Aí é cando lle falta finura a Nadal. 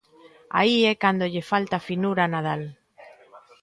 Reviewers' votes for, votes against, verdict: 2, 0, accepted